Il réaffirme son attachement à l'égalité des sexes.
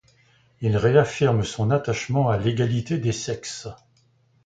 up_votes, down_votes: 2, 0